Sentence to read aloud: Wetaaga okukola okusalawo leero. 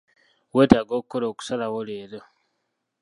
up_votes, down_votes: 2, 1